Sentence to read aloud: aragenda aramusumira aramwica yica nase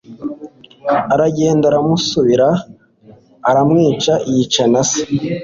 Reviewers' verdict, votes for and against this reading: accepted, 2, 0